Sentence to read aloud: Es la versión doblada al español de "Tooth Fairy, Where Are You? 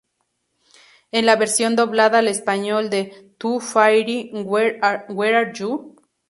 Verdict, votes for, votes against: accepted, 2, 0